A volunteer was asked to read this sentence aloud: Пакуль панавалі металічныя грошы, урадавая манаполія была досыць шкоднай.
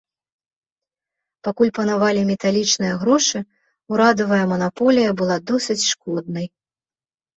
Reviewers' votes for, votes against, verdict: 3, 0, accepted